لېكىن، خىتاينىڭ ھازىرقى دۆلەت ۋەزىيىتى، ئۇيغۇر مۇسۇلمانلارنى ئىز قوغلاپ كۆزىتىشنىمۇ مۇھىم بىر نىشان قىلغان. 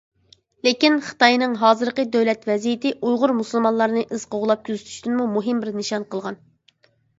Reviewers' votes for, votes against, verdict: 0, 2, rejected